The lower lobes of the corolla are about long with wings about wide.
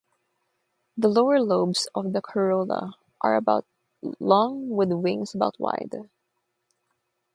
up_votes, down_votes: 0, 3